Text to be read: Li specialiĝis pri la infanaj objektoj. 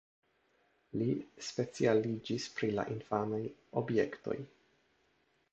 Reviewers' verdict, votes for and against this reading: accepted, 2, 0